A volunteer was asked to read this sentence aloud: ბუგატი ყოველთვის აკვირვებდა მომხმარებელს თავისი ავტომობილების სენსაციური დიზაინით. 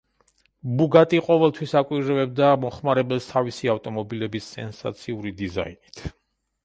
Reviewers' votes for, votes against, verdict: 1, 2, rejected